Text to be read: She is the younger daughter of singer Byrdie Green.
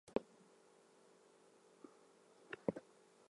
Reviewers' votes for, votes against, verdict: 0, 4, rejected